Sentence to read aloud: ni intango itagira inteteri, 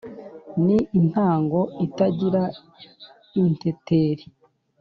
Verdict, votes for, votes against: accepted, 2, 0